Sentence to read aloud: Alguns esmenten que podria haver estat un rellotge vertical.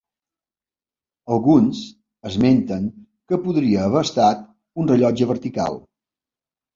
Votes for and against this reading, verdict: 2, 0, accepted